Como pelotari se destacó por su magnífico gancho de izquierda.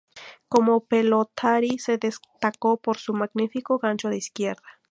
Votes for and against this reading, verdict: 2, 0, accepted